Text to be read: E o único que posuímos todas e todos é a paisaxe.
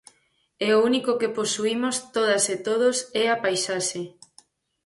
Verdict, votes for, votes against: accepted, 4, 0